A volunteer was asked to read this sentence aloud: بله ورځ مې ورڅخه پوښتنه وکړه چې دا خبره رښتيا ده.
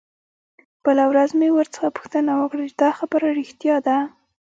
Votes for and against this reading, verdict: 2, 0, accepted